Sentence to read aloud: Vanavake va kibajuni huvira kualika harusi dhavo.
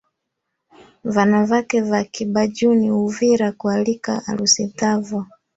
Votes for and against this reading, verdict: 2, 1, accepted